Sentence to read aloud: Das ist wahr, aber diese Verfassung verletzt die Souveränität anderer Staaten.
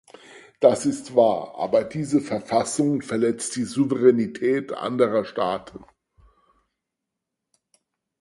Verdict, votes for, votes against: accepted, 4, 0